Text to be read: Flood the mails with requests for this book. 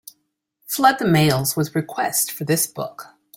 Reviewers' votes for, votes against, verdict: 2, 1, accepted